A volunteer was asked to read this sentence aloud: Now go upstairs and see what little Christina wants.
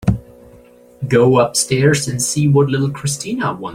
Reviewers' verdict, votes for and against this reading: rejected, 0, 2